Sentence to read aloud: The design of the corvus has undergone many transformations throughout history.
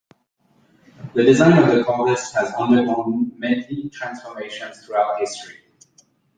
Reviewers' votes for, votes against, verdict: 0, 2, rejected